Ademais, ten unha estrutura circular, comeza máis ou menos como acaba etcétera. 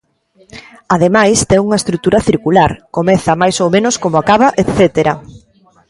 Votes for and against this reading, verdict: 1, 2, rejected